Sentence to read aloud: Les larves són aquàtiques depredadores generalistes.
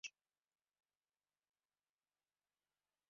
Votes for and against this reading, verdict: 0, 2, rejected